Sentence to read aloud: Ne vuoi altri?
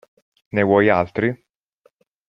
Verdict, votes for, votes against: accepted, 2, 0